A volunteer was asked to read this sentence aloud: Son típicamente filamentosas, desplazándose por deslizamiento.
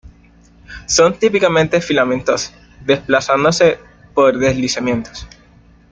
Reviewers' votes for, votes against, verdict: 0, 2, rejected